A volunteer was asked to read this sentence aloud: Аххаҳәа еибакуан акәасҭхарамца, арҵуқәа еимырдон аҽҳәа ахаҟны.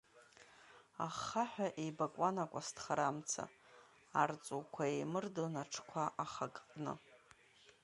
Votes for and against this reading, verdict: 0, 2, rejected